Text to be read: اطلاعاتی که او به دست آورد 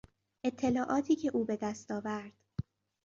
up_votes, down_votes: 2, 0